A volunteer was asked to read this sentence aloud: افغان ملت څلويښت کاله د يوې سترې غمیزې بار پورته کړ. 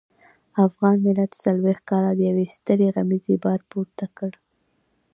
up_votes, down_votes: 3, 0